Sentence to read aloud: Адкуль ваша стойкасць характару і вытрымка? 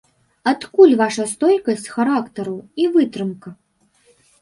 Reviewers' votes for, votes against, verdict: 2, 0, accepted